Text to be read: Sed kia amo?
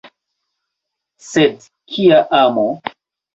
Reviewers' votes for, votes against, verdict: 2, 0, accepted